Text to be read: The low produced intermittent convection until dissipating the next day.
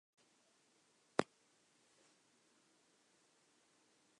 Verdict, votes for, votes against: rejected, 0, 2